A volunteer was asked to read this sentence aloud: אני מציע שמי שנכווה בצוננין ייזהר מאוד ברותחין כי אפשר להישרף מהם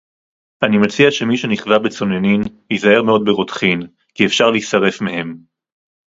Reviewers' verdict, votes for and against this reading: accepted, 4, 0